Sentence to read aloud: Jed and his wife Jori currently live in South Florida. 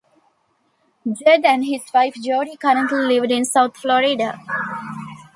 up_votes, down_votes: 1, 2